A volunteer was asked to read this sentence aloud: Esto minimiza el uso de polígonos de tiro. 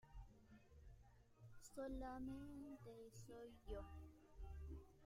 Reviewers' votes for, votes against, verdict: 1, 2, rejected